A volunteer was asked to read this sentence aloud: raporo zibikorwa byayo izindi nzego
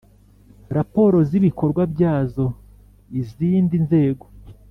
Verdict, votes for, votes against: rejected, 1, 2